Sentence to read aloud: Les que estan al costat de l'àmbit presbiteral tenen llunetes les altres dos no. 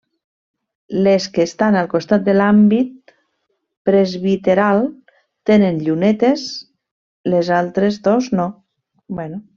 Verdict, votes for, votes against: rejected, 1, 2